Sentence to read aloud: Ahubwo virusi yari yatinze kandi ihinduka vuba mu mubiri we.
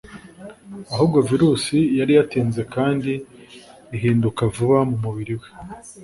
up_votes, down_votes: 2, 0